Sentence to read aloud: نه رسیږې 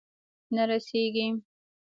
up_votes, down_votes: 1, 3